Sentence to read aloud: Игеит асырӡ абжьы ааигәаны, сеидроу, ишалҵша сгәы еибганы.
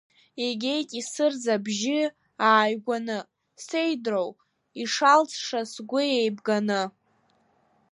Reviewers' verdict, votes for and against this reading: accepted, 2, 1